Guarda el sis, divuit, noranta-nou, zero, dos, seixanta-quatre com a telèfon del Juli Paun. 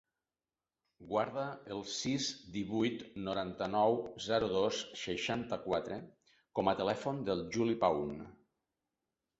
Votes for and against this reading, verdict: 2, 0, accepted